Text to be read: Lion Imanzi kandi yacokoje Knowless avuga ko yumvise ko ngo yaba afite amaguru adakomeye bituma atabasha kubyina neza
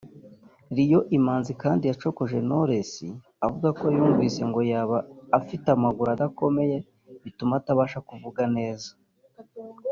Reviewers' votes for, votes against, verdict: 0, 2, rejected